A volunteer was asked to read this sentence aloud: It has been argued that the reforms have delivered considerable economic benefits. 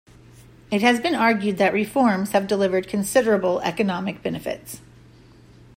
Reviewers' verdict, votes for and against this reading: rejected, 0, 2